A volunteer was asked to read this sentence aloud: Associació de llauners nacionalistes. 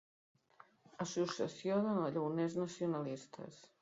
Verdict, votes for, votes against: rejected, 0, 2